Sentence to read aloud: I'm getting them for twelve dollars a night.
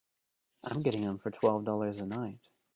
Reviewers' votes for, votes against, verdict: 2, 1, accepted